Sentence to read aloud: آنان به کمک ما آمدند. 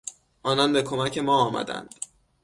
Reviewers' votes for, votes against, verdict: 6, 0, accepted